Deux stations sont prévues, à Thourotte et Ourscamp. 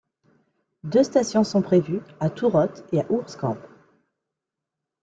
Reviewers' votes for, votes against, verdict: 1, 2, rejected